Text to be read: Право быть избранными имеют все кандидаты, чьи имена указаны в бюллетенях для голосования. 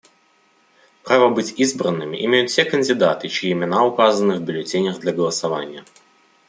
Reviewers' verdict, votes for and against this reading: accepted, 2, 0